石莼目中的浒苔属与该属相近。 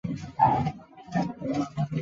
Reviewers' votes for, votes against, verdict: 1, 2, rejected